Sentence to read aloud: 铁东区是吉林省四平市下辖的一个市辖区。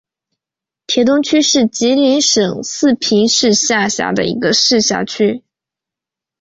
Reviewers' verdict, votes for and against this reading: accepted, 6, 0